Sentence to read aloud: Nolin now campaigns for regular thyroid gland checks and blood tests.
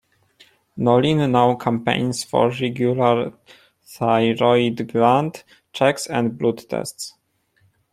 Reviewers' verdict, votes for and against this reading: accepted, 2, 1